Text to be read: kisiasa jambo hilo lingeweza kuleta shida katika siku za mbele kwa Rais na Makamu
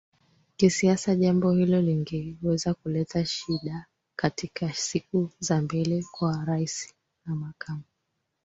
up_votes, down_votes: 2, 1